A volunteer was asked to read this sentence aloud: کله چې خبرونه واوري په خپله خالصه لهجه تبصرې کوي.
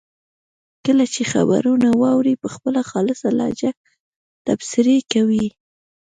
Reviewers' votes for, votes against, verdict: 2, 0, accepted